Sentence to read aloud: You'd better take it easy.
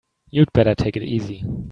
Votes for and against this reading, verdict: 2, 0, accepted